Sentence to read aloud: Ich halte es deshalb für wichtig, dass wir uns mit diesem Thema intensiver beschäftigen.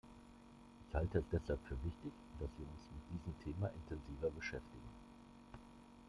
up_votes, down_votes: 1, 2